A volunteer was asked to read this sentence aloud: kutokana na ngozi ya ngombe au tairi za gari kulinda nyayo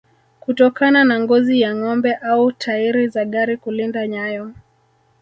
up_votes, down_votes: 11, 2